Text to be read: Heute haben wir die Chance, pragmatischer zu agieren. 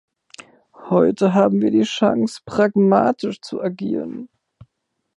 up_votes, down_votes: 1, 2